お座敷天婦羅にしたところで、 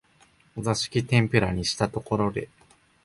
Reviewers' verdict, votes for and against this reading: accepted, 2, 1